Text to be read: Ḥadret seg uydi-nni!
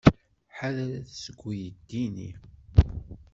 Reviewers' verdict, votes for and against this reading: rejected, 1, 2